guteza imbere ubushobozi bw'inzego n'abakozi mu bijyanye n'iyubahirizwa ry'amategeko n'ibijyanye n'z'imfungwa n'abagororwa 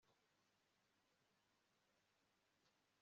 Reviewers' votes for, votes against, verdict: 1, 3, rejected